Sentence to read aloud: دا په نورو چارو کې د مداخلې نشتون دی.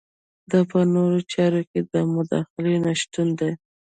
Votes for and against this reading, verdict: 2, 1, accepted